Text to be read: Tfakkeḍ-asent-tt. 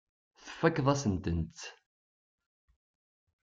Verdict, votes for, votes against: rejected, 0, 2